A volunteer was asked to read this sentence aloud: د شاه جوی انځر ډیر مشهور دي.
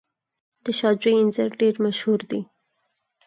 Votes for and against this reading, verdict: 4, 0, accepted